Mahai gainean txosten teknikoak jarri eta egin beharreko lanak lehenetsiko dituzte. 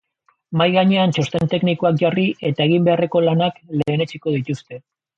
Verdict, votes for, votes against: rejected, 1, 2